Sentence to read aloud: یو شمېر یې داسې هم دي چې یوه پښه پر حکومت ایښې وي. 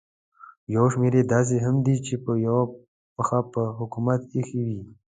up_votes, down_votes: 0, 2